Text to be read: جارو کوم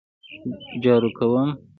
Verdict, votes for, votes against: accepted, 2, 0